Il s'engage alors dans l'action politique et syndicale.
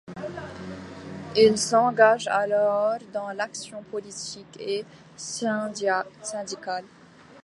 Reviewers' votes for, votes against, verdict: 0, 2, rejected